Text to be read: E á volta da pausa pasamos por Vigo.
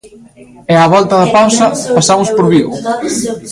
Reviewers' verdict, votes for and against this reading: rejected, 1, 2